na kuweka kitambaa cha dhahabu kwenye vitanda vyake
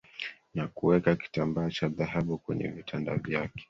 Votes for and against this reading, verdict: 3, 2, accepted